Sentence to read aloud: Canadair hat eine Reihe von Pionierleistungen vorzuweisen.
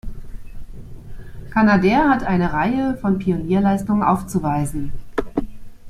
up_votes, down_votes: 0, 2